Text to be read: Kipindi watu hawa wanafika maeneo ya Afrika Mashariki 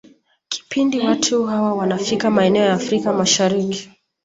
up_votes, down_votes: 2, 1